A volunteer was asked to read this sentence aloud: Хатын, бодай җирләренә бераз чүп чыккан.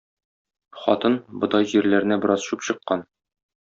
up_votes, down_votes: 2, 0